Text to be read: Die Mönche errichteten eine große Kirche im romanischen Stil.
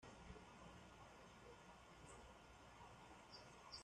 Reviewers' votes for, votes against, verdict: 0, 2, rejected